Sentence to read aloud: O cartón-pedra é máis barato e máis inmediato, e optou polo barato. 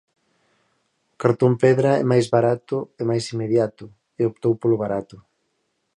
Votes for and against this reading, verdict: 4, 2, accepted